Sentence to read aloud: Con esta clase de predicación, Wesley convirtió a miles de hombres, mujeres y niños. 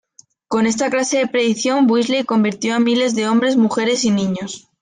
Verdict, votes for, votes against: accepted, 2, 0